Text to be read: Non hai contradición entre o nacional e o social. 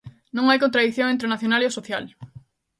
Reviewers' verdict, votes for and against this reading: accepted, 2, 0